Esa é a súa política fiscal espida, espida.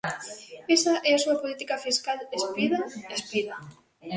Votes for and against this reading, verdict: 1, 2, rejected